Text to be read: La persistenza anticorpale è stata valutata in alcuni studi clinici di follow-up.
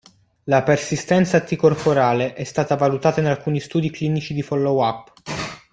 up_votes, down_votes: 2, 1